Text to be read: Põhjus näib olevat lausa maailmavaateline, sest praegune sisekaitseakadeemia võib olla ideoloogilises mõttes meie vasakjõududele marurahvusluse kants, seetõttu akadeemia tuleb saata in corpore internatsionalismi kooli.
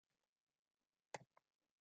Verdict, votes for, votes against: rejected, 0, 2